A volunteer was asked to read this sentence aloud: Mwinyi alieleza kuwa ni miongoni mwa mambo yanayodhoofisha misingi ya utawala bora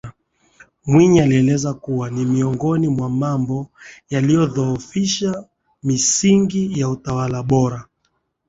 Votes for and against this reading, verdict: 2, 0, accepted